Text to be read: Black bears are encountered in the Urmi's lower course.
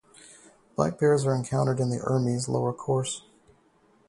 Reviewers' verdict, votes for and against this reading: accepted, 2, 0